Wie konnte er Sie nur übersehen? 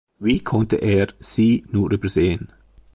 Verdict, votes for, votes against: accepted, 2, 0